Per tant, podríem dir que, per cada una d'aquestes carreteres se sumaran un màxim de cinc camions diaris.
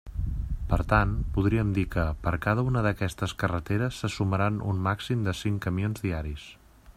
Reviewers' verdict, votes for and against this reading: accepted, 2, 0